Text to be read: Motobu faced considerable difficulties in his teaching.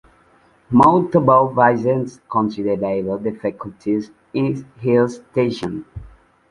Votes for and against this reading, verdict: 0, 2, rejected